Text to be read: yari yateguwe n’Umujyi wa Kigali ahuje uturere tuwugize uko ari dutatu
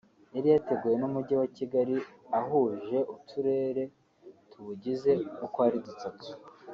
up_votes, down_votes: 1, 2